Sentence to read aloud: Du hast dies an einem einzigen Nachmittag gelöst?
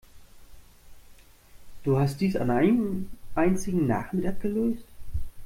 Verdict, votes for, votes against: rejected, 0, 2